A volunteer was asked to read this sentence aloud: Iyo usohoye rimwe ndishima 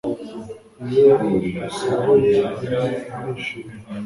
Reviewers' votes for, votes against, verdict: 0, 2, rejected